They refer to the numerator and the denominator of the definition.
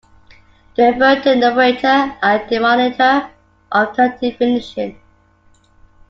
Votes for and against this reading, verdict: 0, 2, rejected